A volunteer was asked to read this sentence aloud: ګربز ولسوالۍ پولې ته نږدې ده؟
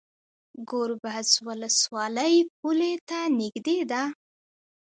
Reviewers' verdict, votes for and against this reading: accepted, 2, 1